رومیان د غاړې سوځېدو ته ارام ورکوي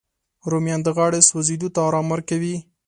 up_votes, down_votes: 2, 0